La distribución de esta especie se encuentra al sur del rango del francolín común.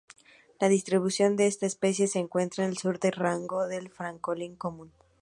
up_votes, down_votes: 0, 2